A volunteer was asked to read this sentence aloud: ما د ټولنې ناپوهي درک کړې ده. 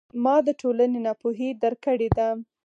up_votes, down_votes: 4, 0